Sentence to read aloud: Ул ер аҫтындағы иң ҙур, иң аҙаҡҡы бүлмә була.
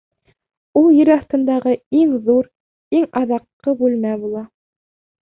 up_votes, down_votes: 2, 0